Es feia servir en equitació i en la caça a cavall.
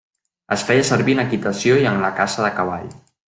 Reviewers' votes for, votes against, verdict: 1, 2, rejected